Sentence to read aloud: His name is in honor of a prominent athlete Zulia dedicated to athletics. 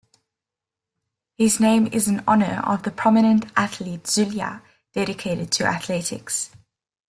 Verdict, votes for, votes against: accepted, 3, 0